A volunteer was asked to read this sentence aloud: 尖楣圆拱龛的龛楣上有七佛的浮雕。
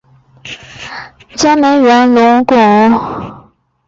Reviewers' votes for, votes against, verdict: 2, 4, rejected